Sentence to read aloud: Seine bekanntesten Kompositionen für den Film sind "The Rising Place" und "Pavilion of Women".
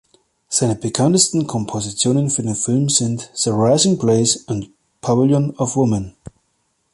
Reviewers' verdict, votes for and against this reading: accepted, 2, 1